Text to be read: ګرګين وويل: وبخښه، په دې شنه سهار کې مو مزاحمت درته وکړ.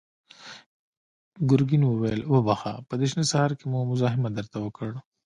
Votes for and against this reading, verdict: 2, 1, accepted